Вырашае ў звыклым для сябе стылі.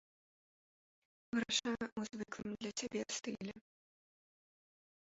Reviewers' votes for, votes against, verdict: 0, 4, rejected